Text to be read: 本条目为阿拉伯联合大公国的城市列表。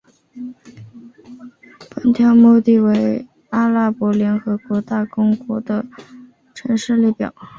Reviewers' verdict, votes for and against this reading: accepted, 2, 0